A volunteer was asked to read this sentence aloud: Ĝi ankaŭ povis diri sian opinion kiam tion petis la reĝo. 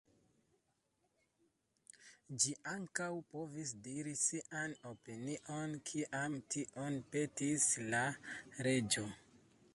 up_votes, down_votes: 0, 2